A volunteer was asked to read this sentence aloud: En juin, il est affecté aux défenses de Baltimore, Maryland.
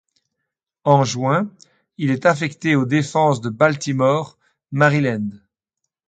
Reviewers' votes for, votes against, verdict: 2, 0, accepted